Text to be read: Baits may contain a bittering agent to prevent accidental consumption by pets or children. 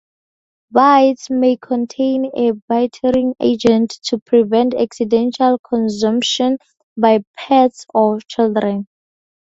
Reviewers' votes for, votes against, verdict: 2, 0, accepted